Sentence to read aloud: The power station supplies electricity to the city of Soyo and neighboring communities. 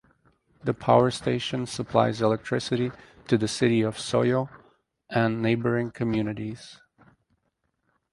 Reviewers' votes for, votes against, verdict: 4, 0, accepted